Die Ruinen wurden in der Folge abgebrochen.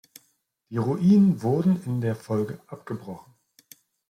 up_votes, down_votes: 3, 0